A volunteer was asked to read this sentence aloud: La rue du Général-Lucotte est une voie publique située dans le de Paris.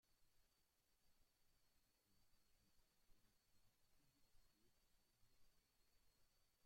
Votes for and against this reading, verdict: 0, 2, rejected